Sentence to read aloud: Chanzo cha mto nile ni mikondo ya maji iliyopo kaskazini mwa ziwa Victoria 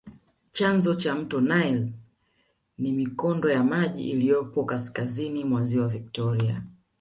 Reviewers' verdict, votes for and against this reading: accepted, 2, 0